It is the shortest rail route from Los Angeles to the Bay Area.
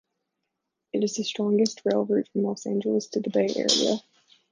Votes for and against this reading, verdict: 2, 0, accepted